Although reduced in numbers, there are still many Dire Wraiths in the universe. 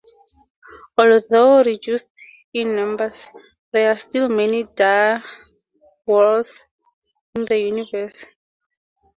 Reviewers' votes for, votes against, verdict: 2, 0, accepted